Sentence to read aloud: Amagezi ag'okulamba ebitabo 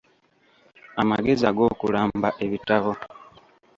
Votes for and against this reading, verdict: 1, 2, rejected